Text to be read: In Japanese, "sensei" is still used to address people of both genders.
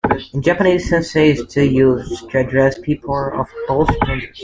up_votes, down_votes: 0, 2